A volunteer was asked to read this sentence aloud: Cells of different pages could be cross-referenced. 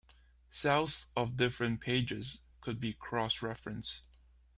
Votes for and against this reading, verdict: 3, 0, accepted